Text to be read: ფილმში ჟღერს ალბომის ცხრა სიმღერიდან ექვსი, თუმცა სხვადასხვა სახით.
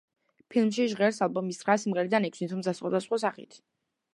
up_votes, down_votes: 2, 0